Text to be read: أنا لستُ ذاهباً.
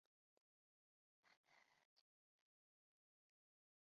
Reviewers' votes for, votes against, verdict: 0, 2, rejected